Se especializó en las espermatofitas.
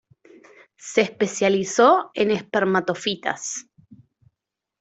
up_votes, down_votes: 0, 2